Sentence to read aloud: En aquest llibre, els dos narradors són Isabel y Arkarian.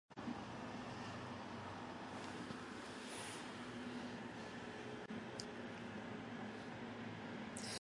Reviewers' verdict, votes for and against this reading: rejected, 1, 2